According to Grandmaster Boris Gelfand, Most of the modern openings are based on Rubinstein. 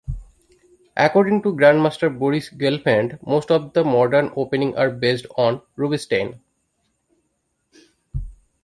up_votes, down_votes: 2, 0